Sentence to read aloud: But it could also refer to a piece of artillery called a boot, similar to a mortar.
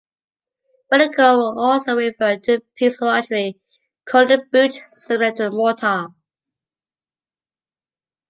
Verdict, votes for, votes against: accepted, 2, 0